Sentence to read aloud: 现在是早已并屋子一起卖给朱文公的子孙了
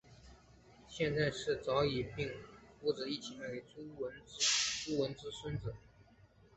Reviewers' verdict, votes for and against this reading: accepted, 3, 1